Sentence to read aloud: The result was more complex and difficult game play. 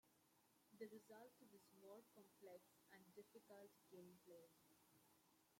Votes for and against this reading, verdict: 0, 2, rejected